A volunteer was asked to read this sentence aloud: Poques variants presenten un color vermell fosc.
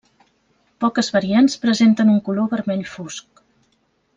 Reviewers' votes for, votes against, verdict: 3, 0, accepted